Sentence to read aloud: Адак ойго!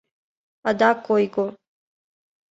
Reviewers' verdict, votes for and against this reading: accepted, 2, 0